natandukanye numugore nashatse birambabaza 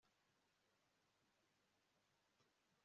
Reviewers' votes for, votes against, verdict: 0, 2, rejected